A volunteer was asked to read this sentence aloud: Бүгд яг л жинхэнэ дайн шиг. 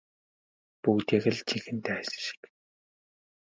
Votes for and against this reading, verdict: 0, 2, rejected